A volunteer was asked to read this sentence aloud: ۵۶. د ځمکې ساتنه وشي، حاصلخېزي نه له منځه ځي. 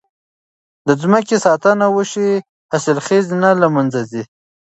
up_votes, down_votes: 0, 2